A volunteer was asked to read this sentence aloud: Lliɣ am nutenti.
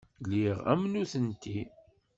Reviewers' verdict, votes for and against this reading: accepted, 2, 0